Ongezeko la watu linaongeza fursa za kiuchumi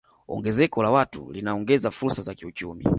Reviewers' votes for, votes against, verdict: 2, 0, accepted